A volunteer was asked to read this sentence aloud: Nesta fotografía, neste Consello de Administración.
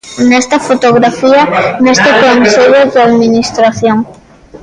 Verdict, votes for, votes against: rejected, 0, 2